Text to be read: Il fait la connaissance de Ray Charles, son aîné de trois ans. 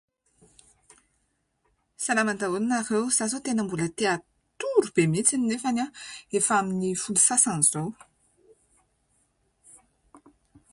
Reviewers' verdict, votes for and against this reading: rejected, 0, 2